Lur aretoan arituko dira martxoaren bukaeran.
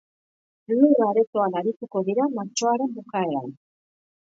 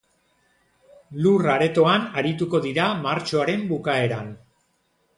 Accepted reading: second